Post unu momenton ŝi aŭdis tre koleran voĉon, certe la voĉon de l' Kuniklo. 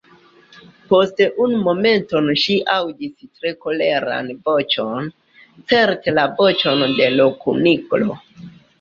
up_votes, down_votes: 1, 2